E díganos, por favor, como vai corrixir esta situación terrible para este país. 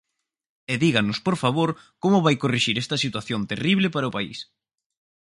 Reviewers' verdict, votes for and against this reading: rejected, 0, 4